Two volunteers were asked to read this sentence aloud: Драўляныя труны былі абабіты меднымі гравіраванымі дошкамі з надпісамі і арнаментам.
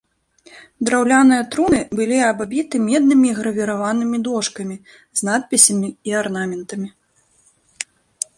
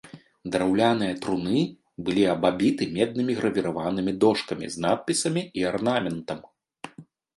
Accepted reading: second